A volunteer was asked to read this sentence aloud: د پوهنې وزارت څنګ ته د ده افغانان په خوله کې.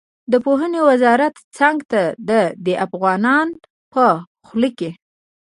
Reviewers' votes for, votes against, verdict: 2, 0, accepted